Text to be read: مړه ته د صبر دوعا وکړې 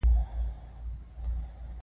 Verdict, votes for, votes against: rejected, 1, 2